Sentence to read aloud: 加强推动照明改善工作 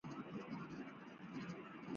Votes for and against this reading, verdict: 0, 5, rejected